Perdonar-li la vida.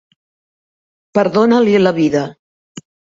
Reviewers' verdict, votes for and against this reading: rejected, 1, 2